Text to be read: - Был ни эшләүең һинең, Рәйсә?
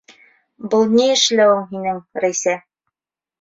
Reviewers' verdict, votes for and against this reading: rejected, 1, 2